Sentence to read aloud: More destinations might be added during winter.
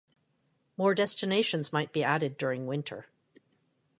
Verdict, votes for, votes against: accepted, 2, 0